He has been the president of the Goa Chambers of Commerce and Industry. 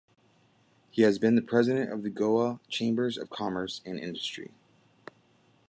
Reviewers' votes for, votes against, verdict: 2, 0, accepted